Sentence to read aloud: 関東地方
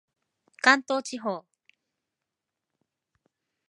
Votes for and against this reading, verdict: 2, 0, accepted